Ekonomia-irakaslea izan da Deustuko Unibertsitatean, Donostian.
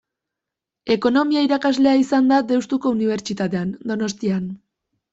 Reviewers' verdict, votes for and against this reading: accepted, 2, 0